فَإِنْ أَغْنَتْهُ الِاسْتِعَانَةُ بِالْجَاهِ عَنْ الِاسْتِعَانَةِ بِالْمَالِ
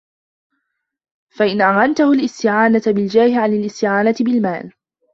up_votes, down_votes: 1, 2